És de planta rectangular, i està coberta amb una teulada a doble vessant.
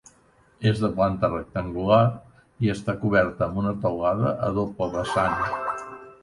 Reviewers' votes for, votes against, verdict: 0, 2, rejected